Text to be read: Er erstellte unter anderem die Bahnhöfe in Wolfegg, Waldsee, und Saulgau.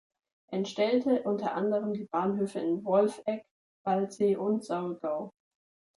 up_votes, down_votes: 0, 3